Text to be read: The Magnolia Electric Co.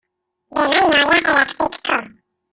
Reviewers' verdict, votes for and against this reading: rejected, 0, 2